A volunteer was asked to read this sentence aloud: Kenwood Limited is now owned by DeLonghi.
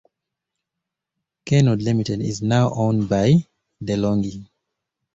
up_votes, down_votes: 2, 0